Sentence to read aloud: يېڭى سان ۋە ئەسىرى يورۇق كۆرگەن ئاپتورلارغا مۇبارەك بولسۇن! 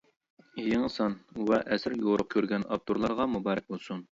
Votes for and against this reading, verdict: 2, 0, accepted